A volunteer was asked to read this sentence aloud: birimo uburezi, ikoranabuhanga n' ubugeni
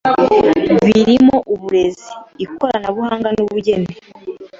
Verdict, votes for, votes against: accepted, 2, 1